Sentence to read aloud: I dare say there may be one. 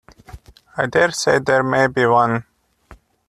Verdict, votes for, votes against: accepted, 2, 0